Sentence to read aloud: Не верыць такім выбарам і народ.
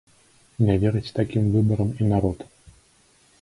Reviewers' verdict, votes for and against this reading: accepted, 2, 0